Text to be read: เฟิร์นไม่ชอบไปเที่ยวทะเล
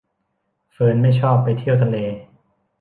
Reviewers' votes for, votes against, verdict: 2, 0, accepted